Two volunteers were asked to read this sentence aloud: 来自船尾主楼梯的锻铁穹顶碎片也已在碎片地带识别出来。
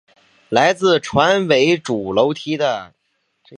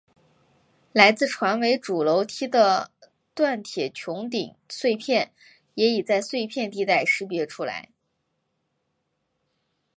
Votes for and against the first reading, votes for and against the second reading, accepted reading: 2, 0, 1, 2, first